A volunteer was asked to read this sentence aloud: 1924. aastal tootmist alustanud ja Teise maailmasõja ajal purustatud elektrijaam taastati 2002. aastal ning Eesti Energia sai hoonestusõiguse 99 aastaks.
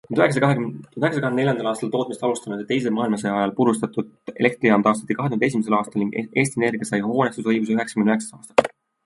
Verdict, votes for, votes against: rejected, 0, 2